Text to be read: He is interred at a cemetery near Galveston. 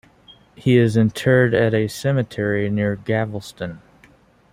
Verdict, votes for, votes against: rejected, 1, 2